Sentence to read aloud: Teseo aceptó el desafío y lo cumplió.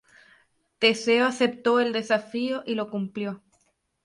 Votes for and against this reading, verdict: 2, 0, accepted